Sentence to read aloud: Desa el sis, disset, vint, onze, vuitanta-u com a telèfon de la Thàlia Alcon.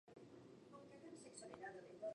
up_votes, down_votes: 0, 2